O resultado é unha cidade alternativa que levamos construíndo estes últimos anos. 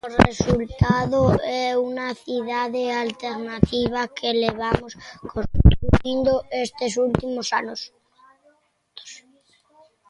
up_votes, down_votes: 1, 2